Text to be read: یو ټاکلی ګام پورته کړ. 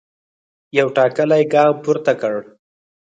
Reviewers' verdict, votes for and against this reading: rejected, 2, 4